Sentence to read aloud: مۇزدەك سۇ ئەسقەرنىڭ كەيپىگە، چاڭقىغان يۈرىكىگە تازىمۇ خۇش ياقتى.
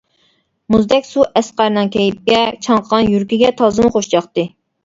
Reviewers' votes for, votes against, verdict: 0, 2, rejected